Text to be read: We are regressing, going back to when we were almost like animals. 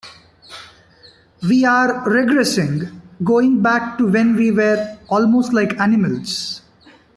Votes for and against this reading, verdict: 2, 0, accepted